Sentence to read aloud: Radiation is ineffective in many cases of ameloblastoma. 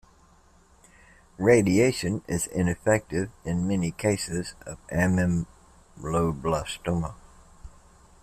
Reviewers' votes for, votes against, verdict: 1, 2, rejected